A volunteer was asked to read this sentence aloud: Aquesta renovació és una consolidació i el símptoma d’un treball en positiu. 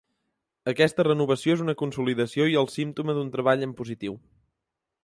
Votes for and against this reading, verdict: 3, 0, accepted